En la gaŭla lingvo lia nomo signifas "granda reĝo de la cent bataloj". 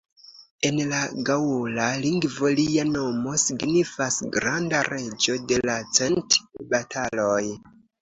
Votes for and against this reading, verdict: 2, 0, accepted